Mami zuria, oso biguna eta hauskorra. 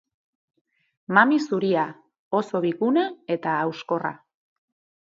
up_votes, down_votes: 4, 0